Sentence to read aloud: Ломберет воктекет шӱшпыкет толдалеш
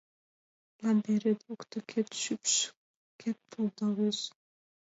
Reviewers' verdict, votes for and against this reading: rejected, 1, 2